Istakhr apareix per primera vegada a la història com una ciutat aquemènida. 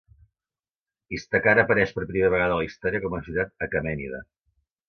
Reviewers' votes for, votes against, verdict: 2, 0, accepted